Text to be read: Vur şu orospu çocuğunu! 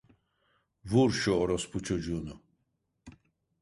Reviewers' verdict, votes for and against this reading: accepted, 2, 0